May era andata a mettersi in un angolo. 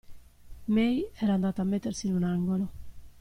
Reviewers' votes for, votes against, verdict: 2, 0, accepted